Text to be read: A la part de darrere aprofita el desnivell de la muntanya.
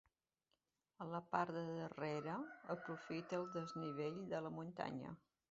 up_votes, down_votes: 2, 1